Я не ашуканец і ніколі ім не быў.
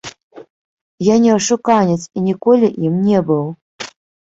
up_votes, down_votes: 0, 2